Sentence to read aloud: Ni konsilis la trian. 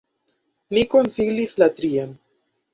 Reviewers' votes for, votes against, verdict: 1, 2, rejected